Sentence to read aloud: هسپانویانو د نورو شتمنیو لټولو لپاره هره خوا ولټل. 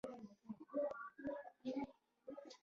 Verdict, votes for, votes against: accepted, 2, 1